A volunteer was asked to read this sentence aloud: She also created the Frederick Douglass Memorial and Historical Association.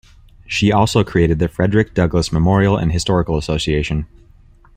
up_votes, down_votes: 2, 0